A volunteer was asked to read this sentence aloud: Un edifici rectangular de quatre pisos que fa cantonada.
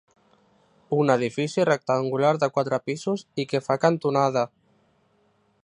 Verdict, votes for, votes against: rejected, 0, 2